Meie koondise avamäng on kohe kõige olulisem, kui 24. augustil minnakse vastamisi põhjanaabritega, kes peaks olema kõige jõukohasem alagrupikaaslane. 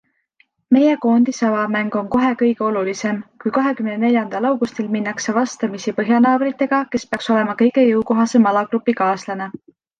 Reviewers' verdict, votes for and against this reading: rejected, 0, 2